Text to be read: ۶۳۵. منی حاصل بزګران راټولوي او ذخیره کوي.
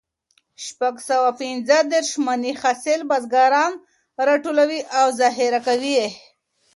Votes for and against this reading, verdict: 0, 2, rejected